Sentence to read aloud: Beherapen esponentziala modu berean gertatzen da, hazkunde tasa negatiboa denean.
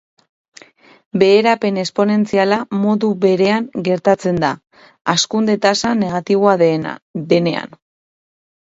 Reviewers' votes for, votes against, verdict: 2, 4, rejected